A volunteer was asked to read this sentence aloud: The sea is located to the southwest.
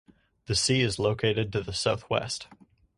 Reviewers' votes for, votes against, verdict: 4, 0, accepted